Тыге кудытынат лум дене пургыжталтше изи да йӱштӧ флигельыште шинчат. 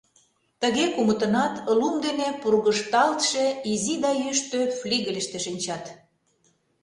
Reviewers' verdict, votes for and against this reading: rejected, 0, 2